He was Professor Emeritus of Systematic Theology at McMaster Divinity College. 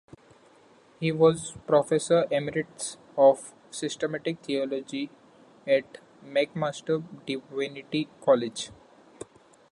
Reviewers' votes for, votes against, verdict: 2, 3, rejected